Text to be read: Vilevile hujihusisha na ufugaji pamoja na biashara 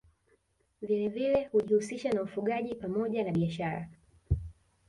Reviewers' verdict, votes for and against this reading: accepted, 3, 1